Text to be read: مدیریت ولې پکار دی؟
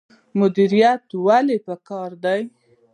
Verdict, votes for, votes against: accepted, 2, 0